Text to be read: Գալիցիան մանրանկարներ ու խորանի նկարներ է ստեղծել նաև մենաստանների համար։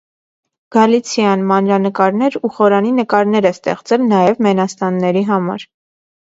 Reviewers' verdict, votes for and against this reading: accepted, 2, 0